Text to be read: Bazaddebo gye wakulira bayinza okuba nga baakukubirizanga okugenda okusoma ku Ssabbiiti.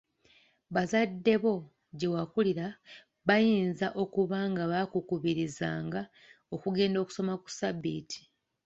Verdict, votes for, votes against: accepted, 2, 0